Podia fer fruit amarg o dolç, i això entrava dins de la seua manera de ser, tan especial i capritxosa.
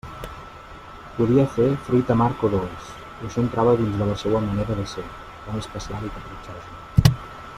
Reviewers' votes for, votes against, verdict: 0, 2, rejected